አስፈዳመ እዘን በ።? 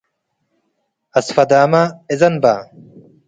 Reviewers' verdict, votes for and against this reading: accepted, 2, 0